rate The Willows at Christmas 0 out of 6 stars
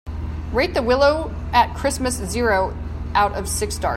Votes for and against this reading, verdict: 0, 2, rejected